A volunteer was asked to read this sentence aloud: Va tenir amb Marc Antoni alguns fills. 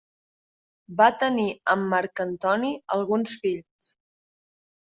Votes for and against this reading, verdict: 3, 0, accepted